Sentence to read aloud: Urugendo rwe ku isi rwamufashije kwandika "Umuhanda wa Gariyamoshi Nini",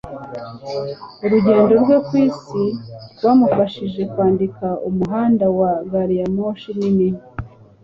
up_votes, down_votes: 2, 0